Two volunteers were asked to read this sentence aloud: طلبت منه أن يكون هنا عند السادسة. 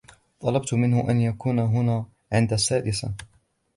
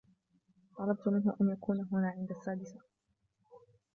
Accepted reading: first